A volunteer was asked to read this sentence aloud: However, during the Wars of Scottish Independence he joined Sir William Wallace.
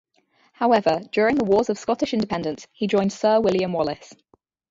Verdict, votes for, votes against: rejected, 0, 2